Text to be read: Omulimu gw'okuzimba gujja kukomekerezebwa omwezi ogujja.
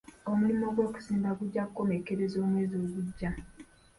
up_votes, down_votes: 0, 2